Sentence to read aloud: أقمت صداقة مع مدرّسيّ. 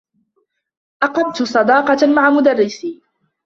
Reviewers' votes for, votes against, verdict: 1, 2, rejected